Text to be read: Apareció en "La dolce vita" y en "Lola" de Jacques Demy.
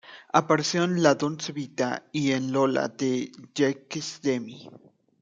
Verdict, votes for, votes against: rejected, 1, 2